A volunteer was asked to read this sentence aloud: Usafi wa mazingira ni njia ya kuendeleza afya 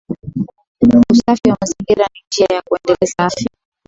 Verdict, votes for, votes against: accepted, 2, 0